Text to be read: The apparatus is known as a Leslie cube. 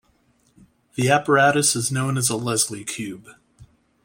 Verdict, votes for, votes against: accepted, 2, 0